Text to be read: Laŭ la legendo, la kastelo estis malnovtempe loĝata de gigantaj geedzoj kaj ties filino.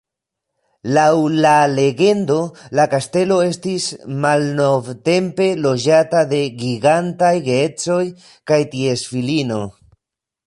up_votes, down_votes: 2, 1